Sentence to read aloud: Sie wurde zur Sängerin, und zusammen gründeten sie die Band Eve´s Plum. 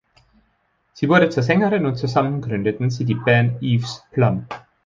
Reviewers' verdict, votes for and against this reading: accepted, 2, 0